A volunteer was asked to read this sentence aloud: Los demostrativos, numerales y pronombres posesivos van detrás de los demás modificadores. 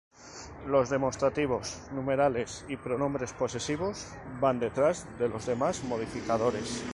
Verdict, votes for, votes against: accepted, 2, 0